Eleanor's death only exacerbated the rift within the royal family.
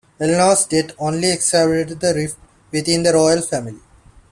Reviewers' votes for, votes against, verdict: 0, 2, rejected